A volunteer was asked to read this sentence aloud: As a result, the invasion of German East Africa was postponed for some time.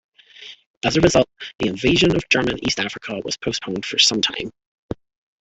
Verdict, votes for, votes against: rejected, 1, 2